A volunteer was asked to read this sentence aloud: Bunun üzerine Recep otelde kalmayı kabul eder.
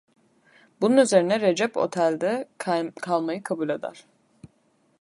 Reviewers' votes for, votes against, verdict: 0, 2, rejected